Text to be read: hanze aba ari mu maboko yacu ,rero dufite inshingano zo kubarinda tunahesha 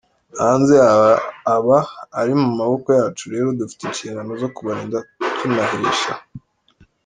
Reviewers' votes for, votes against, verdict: 0, 3, rejected